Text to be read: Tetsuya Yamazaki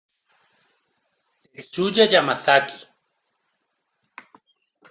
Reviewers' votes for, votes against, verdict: 0, 2, rejected